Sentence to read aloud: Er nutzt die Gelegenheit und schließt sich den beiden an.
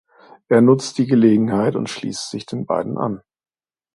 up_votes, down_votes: 2, 0